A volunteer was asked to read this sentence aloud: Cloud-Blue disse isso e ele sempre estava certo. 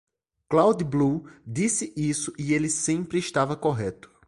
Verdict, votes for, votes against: rejected, 1, 2